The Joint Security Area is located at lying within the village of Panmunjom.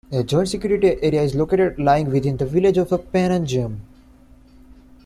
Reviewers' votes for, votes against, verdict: 2, 1, accepted